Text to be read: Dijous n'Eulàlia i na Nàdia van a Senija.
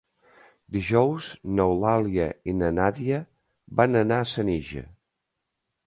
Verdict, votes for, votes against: rejected, 0, 2